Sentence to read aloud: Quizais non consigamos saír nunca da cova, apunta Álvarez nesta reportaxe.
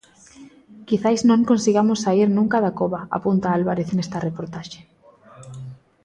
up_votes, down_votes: 1, 2